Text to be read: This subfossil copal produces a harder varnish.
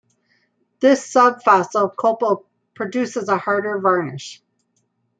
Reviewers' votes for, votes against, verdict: 1, 2, rejected